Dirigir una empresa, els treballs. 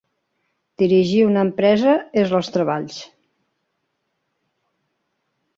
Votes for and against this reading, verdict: 1, 2, rejected